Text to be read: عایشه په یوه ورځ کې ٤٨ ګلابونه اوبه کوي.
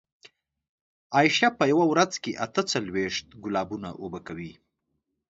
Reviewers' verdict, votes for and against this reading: rejected, 0, 2